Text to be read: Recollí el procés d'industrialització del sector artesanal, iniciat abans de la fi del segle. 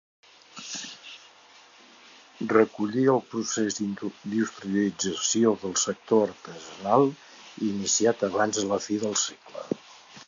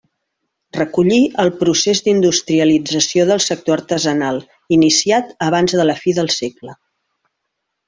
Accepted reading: second